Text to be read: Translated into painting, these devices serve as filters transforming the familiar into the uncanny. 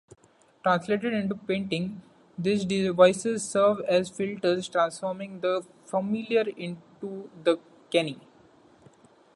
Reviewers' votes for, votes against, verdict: 0, 2, rejected